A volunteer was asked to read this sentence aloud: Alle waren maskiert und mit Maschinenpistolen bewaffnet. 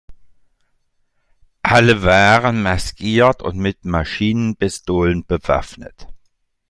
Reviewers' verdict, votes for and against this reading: accepted, 2, 0